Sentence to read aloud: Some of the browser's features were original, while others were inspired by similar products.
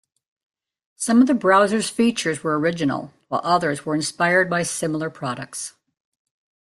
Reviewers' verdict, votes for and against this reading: accepted, 2, 0